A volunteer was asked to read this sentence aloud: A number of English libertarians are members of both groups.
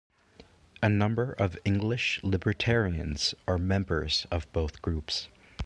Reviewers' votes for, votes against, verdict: 2, 0, accepted